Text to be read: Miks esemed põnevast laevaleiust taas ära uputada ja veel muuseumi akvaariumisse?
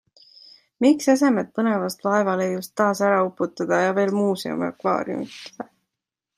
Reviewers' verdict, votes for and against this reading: rejected, 1, 2